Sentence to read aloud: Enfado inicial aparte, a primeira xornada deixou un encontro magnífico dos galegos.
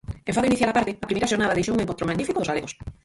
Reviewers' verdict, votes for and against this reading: rejected, 0, 4